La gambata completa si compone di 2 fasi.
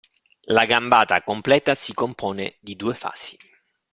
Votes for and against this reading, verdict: 0, 2, rejected